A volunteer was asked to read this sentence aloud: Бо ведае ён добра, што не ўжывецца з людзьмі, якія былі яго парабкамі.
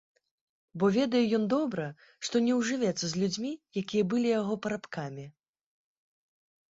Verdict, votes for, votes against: rejected, 0, 2